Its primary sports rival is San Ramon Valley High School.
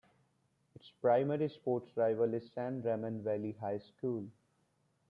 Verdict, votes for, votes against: rejected, 1, 2